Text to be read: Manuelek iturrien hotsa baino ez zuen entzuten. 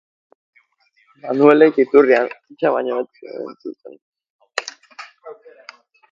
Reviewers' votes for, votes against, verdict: 2, 3, rejected